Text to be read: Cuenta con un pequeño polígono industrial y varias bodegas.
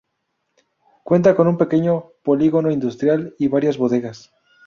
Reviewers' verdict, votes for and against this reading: rejected, 0, 2